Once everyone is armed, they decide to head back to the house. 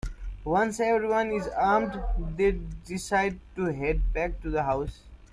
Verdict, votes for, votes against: accepted, 2, 0